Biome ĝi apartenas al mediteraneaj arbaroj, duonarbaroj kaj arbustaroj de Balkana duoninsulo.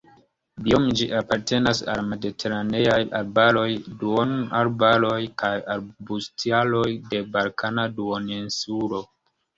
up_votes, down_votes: 2, 1